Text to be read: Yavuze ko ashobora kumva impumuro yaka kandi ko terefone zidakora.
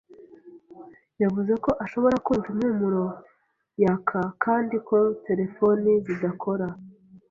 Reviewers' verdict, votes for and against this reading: accepted, 2, 0